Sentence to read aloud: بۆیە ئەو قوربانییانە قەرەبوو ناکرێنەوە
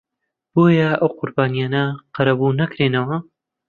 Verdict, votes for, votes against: accepted, 2, 1